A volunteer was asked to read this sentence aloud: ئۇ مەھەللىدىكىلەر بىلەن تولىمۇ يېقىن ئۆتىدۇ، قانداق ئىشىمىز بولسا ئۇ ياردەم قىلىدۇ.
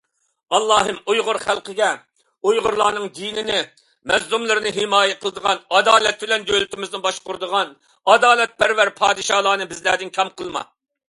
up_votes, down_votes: 0, 2